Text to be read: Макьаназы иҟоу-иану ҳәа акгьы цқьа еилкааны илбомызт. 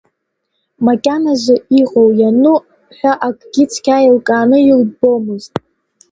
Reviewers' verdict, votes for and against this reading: rejected, 1, 2